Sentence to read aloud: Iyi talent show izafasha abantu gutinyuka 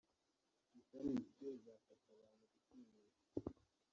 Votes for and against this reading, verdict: 0, 2, rejected